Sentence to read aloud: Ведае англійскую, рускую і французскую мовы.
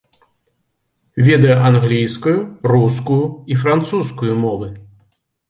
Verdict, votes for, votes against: accepted, 2, 0